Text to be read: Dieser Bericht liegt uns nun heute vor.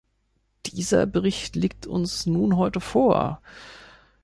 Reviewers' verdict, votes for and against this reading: accepted, 2, 0